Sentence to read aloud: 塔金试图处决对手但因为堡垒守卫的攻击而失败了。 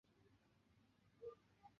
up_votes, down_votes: 0, 2